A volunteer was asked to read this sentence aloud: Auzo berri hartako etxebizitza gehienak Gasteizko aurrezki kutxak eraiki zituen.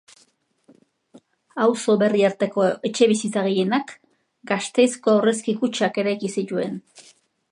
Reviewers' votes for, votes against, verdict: 2, 0, accepted